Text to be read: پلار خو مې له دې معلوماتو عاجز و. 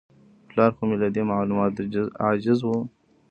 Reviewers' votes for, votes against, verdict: 3, 1, accepted